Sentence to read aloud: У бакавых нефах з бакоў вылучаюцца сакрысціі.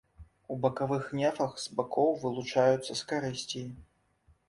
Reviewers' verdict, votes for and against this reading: rejected, 0, 2